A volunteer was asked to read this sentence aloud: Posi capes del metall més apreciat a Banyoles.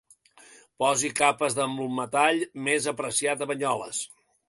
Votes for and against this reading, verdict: 1, 2, rejected